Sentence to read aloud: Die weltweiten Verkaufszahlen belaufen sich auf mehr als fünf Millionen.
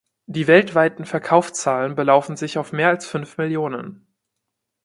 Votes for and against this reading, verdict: 1, 2, rejected